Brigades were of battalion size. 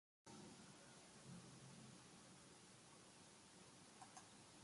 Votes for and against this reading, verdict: 0, 2, rejected